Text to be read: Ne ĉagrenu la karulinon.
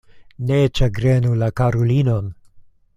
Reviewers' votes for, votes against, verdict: 2, 0, accepted